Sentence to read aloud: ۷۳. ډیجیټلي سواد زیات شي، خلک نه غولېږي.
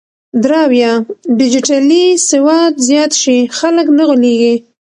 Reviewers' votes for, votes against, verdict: 0, 2, rejected